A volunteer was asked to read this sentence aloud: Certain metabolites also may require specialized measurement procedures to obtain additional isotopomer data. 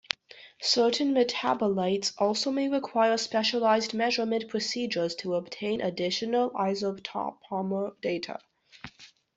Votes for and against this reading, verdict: 0, 2, rejected